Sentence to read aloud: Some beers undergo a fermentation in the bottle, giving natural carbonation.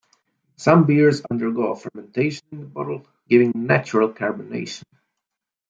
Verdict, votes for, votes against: accepted, 2, 0